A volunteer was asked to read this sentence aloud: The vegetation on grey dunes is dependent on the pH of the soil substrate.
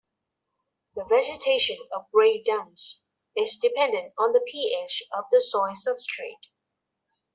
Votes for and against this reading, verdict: 1, 2, rejected